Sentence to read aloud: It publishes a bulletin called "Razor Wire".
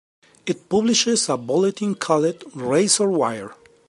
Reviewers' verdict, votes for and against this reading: rejected, 0, 2